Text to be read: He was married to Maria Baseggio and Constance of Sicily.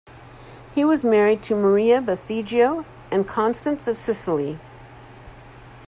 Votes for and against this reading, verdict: 2, 0, accepted